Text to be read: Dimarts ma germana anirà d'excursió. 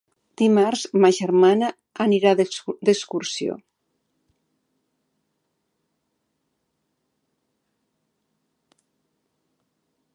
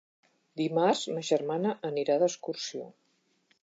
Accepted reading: second